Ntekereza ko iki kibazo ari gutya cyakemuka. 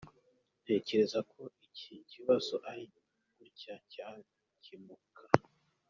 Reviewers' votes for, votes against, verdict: 0, 2, rejected